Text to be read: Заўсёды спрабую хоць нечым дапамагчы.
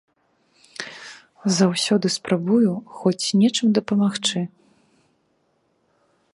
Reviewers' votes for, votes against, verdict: 3, 0, accepted